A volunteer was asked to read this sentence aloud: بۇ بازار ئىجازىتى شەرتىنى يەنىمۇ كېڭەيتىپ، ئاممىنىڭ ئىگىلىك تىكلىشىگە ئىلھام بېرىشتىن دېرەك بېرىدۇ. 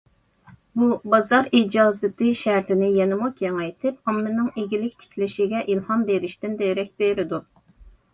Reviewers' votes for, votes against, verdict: 2, 0, accepted